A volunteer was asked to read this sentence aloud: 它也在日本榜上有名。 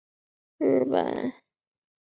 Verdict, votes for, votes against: rejected, 1, 3